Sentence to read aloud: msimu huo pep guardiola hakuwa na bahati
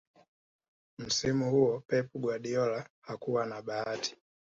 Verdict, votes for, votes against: accepted, 3, 1